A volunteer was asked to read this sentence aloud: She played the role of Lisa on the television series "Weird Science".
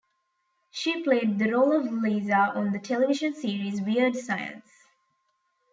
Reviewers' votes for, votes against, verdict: 2, 0, accepted